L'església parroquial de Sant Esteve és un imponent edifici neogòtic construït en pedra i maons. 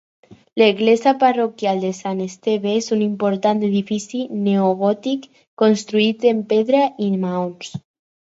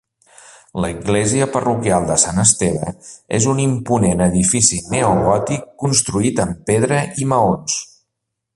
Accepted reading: second